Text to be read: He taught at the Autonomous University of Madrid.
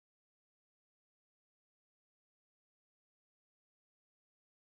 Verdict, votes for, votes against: rejected, 0, 2